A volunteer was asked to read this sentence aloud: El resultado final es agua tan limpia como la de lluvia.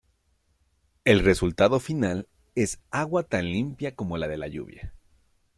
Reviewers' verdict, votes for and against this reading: rejected, 1, 2